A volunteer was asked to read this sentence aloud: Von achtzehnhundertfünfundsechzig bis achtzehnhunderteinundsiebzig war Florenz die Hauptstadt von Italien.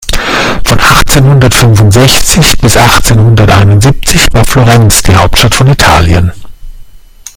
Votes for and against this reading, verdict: 1, 2, rejected